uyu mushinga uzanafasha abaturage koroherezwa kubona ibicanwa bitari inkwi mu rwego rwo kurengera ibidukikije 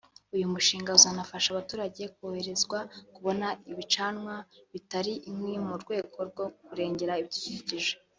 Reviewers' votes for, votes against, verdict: 0, 2, rejected